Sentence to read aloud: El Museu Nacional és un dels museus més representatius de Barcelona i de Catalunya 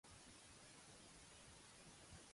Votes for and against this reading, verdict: 0, 2, rejected